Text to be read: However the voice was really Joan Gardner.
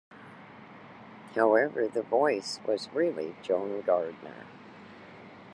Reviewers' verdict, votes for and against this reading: accepted, 2, 0